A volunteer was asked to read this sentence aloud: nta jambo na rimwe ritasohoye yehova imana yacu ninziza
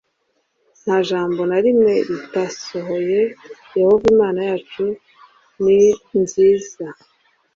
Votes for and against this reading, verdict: 2, 1, accepted